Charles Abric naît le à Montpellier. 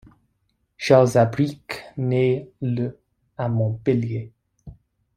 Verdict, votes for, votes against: rejected, 0, 2